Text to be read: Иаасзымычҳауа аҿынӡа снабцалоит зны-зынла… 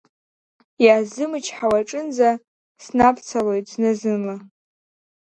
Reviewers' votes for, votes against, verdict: 2, 0, accepted